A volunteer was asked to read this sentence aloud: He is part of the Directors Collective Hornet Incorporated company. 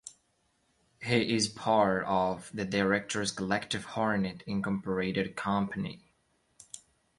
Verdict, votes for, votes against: accepted, 2, 0